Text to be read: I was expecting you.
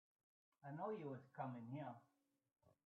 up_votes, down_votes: 1, 2